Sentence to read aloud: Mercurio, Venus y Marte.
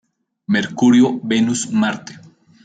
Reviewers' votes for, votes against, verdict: 0, 3, rejected